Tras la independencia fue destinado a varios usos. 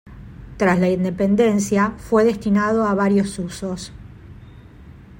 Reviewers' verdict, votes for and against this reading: rejected, 1, 2